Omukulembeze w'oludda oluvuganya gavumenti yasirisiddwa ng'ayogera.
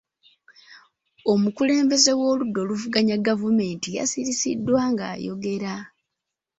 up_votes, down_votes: 2, 0